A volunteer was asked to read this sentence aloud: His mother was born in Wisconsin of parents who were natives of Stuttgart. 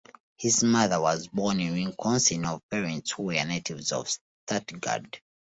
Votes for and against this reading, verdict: 1, 2, rejected